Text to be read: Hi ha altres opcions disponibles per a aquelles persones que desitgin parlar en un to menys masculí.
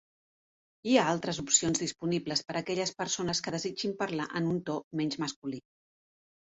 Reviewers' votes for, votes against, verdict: 2, 0, accepted